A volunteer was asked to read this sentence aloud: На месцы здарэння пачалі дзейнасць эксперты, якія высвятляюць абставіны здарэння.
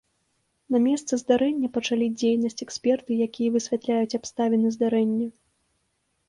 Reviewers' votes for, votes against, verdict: 2, 0, accepted